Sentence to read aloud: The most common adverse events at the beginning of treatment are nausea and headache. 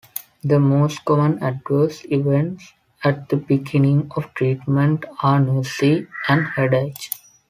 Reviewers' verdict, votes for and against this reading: rejected, 0, 2